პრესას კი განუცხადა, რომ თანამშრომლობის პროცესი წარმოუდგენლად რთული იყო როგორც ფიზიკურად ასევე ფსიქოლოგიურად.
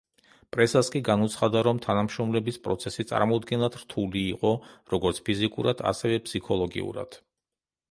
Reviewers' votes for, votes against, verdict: 0, 2, rejected